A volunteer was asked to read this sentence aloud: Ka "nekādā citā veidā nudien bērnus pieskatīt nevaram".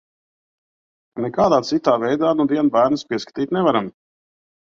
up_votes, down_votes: 1, 2